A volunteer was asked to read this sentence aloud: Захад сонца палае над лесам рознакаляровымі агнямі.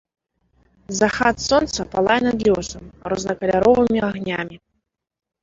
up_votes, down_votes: 0, 2